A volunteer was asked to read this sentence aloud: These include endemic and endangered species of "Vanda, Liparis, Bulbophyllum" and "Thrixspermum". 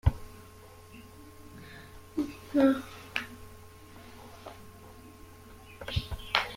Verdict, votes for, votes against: rejected, 0, 2